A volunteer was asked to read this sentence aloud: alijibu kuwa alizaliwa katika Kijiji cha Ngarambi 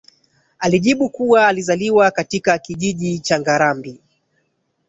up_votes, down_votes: 1, 2